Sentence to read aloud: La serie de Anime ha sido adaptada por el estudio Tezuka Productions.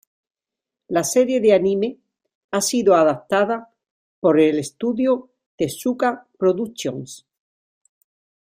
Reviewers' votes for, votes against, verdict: 0, 2, rejected